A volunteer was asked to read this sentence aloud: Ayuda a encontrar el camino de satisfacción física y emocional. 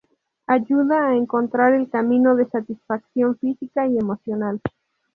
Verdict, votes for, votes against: rejected, 0, 2